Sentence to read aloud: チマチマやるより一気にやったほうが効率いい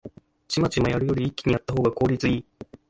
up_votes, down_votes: 2, 0